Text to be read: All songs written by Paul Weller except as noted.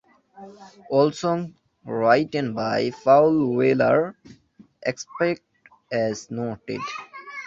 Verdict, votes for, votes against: rejected, 0, 2